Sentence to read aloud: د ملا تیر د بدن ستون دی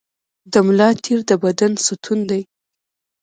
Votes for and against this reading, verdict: 1, 2, rejected